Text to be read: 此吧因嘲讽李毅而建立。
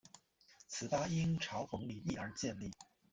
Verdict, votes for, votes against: accepted, 2, 0